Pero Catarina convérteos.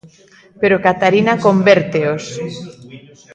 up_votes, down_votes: 0, 2